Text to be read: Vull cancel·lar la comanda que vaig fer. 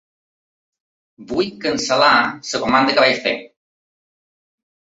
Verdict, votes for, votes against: accepted, 2, 1